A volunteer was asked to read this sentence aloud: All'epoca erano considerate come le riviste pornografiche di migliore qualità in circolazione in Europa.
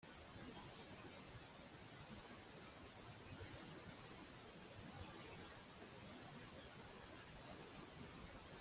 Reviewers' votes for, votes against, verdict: 0, 2, rejected